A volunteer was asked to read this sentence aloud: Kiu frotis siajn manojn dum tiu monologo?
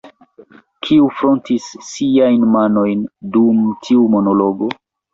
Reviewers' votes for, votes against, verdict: 1, 2, rejected